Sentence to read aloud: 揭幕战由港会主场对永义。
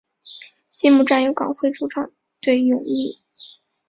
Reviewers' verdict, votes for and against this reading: accepted, 2, 0